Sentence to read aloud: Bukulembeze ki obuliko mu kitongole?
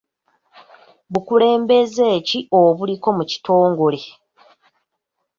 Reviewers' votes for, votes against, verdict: 2, 0, accepted